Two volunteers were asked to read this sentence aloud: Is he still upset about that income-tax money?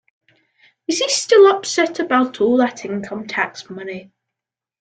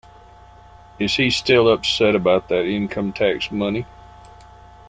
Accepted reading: second